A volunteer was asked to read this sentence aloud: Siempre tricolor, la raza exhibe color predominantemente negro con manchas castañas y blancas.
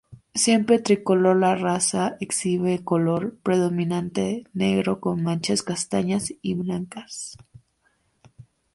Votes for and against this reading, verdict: 0, 4, rejected